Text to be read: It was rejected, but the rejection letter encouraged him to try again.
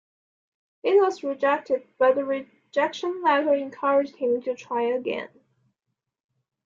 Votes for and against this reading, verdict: 2, 0, accepted